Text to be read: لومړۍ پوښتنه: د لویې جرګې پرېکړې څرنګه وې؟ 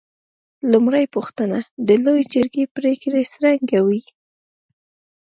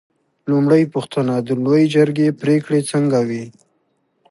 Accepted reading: second